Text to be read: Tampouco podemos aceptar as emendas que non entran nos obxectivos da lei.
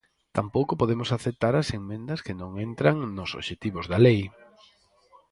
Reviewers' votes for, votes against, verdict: 0, 4, rejected